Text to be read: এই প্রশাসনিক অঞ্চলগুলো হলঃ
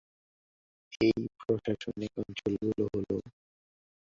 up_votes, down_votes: 2, 3